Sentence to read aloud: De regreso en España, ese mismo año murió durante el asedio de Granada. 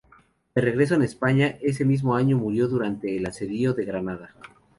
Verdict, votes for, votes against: rejected, 0, 2